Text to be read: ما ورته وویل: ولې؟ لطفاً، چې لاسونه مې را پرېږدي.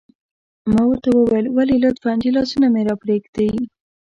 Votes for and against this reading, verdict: 0, 2, rejected